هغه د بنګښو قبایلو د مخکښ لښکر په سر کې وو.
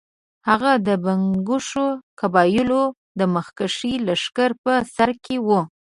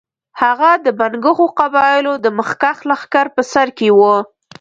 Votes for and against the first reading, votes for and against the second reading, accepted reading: 0, 2, 2, 0, second